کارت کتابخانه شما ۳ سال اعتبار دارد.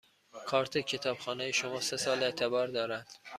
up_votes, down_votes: 0, 2